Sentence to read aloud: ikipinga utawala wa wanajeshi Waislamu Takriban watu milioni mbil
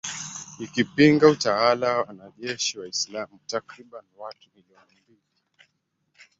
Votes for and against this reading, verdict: 0, 2, rejected